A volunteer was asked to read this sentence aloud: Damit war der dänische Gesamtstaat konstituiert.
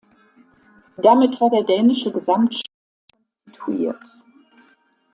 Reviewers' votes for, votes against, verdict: 0, 2, rejected